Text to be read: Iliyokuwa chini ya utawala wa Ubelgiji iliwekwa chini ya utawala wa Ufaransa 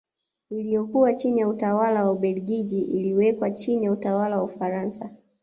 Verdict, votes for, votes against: accepted, 2, 0